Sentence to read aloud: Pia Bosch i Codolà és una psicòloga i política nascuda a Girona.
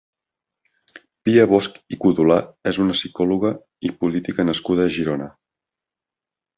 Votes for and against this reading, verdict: 4, 0, accepted